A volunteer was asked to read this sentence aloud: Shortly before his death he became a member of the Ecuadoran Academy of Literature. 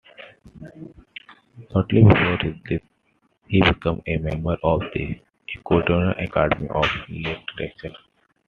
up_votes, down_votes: 0, 2